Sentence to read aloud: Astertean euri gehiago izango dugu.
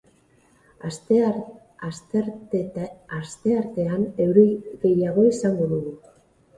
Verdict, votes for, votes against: rejected, 0, 4